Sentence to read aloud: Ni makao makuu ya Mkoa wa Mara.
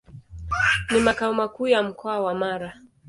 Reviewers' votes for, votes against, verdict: 2, 0, accepted